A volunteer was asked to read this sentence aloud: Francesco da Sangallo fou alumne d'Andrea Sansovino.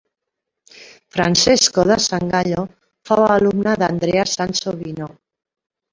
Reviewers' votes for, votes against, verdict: 2, 0, accepted